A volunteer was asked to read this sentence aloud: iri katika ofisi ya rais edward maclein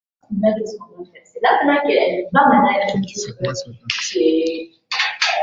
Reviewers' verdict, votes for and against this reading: rejected, 0, 2